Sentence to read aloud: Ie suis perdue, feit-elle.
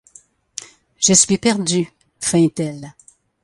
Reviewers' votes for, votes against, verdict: 1, 2, rejected